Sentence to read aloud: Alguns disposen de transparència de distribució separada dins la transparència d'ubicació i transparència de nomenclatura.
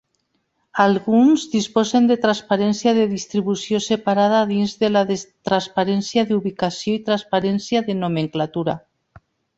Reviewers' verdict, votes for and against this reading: rejected, 1, 3